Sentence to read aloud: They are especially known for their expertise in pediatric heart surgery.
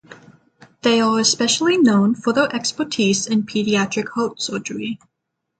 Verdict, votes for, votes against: accepted, 6, 0